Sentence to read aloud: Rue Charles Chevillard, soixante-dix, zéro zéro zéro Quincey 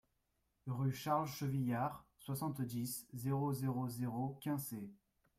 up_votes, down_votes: 2, 0